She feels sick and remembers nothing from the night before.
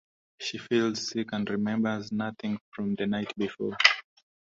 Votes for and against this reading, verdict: 2, 0, accepted